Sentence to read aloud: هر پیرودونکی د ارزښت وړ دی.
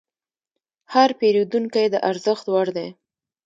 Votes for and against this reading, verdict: 2, 1, accepted